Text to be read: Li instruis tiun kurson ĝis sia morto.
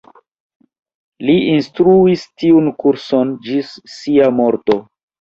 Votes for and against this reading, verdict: 0, 2, rejected